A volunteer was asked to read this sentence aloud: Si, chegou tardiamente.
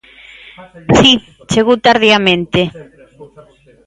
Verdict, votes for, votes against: rejected, 1, 2